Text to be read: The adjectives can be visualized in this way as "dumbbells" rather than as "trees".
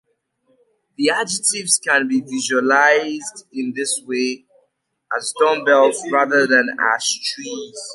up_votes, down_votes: 2, 0